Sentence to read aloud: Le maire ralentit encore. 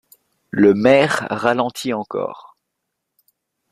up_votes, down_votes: 2, 0